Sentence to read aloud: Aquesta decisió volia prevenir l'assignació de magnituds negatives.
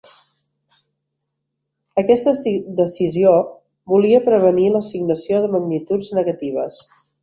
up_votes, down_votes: 1, 3